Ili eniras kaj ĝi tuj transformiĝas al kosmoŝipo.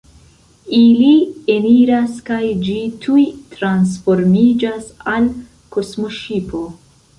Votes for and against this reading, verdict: 2, 1, accepted